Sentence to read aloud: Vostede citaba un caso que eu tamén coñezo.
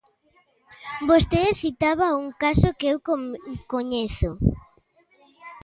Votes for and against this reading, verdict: 0, 2, rejected